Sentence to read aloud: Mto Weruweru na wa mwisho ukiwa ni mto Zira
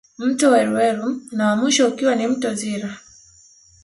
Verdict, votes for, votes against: accepted, 2, 0